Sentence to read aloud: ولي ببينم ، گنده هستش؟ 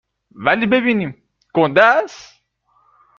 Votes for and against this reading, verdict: 0, 2, rejected